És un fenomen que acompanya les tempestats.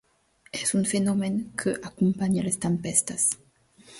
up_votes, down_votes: 0, 2